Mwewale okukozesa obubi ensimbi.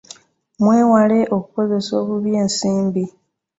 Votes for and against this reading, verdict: 2, 0, accepted